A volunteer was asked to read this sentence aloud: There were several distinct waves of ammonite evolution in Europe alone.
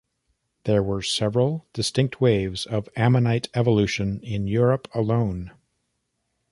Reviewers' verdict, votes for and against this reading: accepted, 2, 0